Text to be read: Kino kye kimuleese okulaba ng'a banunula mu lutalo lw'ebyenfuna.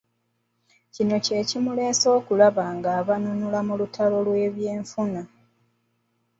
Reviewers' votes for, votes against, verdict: 2, 0, accepted